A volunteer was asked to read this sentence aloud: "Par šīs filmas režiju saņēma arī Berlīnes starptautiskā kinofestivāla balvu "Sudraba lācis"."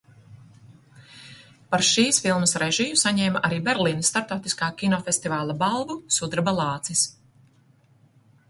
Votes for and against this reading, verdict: 2, 0, accepted